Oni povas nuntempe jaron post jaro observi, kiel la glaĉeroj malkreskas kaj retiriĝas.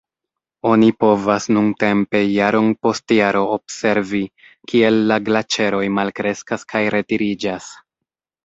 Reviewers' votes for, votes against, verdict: 1, 2, rejected